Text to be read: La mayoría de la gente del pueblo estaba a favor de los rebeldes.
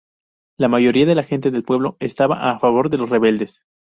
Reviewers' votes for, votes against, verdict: 4, 0, accepted